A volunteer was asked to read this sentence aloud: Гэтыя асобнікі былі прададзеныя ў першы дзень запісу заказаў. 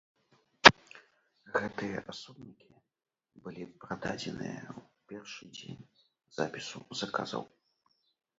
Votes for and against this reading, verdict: 0, 2, rejected